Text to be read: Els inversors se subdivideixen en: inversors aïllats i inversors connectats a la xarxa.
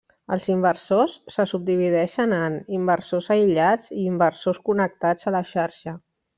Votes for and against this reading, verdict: 3, 0, accepted